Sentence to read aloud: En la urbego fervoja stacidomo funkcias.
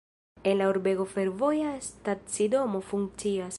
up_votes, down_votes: 0, 2